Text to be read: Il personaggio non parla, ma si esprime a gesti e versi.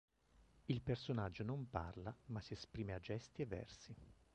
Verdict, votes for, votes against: accepted, 2, 0